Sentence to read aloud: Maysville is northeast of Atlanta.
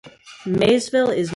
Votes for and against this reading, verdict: 0, 2, rejected